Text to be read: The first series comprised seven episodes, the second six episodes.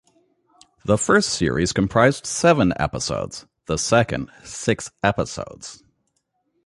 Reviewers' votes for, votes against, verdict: 2, 0, accepted